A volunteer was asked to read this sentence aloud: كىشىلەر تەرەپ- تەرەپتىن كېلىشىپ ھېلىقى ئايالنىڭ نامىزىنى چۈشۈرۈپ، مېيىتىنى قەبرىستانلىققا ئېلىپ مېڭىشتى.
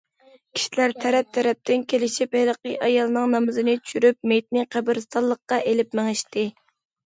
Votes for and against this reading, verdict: 2, 0, accepted